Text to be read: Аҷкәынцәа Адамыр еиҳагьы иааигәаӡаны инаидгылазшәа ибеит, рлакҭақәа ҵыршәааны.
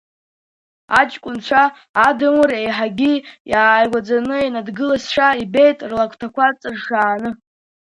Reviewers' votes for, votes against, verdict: 0, 2, rejected